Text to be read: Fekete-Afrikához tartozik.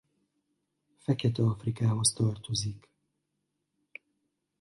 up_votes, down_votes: 2, 0